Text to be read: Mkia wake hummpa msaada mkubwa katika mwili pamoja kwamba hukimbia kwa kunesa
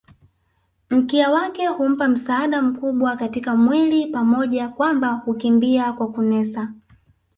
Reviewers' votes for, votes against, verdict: 0, 2, rejected